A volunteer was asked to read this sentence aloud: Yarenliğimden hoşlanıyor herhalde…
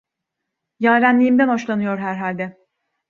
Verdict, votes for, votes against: accepted, 2, 0